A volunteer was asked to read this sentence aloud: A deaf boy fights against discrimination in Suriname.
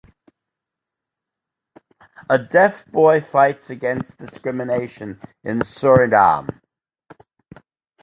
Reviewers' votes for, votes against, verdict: 1, 2, rejected